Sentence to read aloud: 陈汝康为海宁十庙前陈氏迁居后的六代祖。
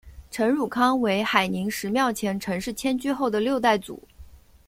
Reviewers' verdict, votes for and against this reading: accepted, 2, 0